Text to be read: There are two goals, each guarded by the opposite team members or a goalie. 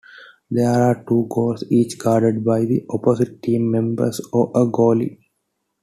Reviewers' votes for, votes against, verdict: 2, 0, accepted